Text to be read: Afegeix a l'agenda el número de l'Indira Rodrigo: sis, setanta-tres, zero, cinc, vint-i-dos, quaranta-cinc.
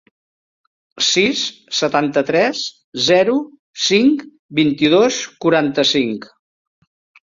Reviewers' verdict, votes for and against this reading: rejected, 1, 2